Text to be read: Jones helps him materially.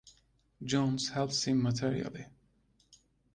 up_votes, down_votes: 2, 0